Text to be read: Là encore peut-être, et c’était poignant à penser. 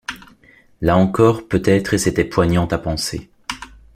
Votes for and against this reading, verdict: 2, 0, accepted